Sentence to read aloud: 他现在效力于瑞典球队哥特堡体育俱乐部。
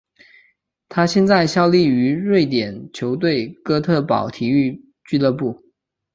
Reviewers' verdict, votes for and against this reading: accepted, 3, 0